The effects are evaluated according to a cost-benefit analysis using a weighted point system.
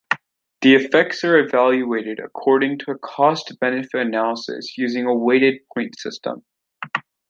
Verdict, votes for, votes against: accepted, 2, 0